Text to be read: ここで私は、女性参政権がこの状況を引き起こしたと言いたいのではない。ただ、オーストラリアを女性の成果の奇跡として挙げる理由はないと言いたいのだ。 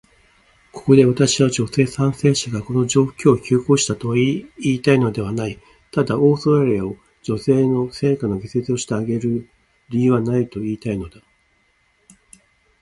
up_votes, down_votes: 1, 2